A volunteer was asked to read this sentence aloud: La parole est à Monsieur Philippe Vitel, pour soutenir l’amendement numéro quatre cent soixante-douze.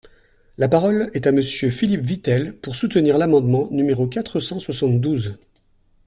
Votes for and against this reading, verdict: 2, 0, accepted